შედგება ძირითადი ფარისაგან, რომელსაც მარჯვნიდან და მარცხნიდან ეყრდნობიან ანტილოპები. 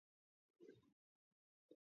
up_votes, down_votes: 0, 2